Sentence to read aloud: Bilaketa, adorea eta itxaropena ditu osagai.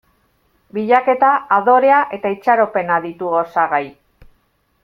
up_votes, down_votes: 2, 0